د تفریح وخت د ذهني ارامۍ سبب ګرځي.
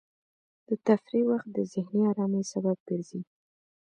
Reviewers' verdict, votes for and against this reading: accepted, 2, 0